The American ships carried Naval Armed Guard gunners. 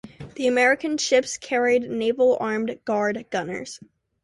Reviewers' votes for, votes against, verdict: 2, 0, accepted